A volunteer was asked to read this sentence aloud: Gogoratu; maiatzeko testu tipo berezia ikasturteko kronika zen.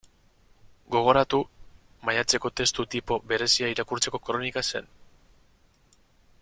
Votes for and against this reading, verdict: 2, 4, rejected